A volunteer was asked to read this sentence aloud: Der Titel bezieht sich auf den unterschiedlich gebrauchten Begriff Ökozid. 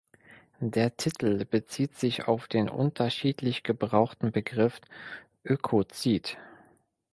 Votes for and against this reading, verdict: 2, 0, accepted